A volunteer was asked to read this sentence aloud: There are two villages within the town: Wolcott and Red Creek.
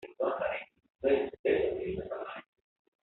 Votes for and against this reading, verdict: 0, 2, rejected